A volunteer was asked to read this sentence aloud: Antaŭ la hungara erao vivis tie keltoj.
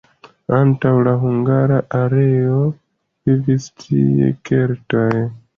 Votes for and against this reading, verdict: 2, 0, accepted